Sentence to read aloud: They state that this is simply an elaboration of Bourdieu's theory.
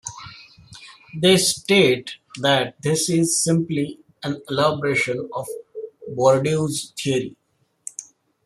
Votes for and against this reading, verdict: 2, 0, accepted